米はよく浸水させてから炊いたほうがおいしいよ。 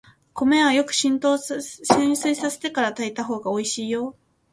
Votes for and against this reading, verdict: 0, 2, rejected